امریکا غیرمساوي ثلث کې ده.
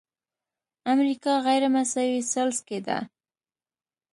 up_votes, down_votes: 2, 0